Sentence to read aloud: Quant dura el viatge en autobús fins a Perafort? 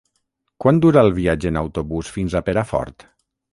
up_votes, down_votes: 3, 3